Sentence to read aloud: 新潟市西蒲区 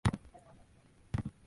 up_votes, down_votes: 0, 2